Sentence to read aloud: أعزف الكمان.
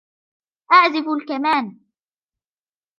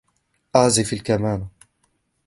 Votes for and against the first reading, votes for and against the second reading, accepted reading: 3, 1, 0, 2, first